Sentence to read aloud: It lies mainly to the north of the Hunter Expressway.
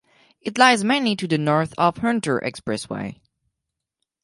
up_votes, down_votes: 0, 4